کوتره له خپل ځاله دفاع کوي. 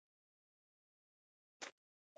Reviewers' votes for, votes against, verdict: 0, 2, rejected